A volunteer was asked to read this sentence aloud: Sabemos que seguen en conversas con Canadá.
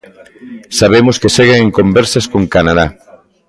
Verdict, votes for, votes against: rejected, 0, 2